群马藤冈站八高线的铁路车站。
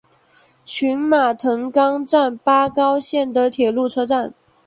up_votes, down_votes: 3, 0